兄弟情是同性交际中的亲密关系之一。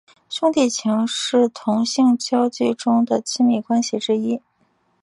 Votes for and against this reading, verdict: 2, 0, accepted